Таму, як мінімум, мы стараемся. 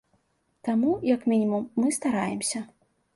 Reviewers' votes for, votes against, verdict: 2, 0, accepted